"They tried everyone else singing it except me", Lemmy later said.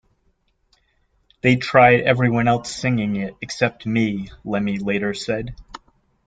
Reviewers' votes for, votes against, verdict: 2, 1, accepted